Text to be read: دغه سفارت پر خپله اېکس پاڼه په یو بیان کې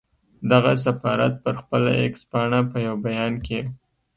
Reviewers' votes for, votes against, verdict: 2, 0, accepted